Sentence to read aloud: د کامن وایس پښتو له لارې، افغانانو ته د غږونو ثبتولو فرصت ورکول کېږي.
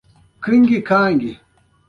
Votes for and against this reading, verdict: 1, 2, rejected